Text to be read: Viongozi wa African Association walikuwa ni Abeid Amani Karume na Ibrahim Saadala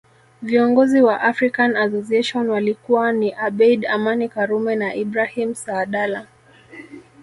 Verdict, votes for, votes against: rejected, 0, 2